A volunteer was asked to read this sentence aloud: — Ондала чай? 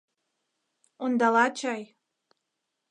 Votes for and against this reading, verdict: 2, 0, accepted